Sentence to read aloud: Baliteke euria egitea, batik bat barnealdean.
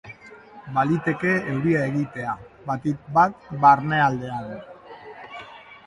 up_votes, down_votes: 2, 1